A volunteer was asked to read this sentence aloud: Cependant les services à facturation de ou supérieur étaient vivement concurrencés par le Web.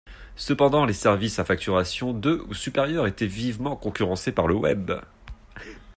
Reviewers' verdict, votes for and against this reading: accepted, 2, 0